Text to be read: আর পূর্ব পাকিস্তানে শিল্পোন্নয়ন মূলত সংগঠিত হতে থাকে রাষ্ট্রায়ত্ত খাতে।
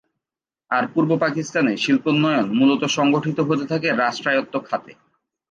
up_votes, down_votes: 2, 0